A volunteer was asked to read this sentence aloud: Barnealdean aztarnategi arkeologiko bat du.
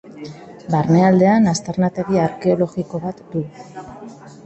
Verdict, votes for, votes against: rejected, 0, 2